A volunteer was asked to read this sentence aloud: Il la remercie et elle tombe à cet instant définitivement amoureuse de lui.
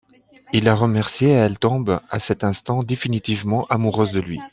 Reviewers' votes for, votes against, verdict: 2, 1, accepted